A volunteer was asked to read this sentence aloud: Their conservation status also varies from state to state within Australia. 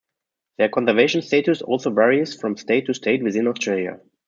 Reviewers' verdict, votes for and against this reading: rejected, 1, 2